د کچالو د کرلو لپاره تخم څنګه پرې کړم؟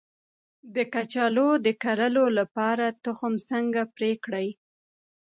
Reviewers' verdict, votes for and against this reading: rejected, 1, 3